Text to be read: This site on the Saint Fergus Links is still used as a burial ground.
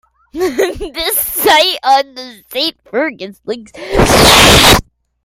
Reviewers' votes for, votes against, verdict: 0, 2, rejected